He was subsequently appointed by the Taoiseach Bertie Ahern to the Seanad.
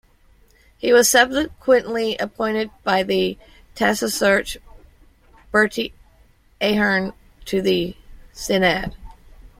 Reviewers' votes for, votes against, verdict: 0, 2, rejected